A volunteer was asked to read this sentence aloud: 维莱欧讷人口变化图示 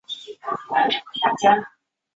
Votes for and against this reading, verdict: 0, 2, rejected